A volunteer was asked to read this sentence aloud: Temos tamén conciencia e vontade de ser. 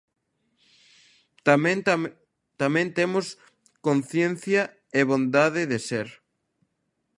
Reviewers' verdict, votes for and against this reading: rejected, 0, 2